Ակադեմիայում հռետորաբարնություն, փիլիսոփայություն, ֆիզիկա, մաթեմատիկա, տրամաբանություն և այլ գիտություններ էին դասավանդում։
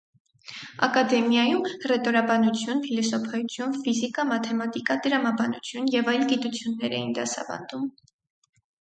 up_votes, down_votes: 2, 4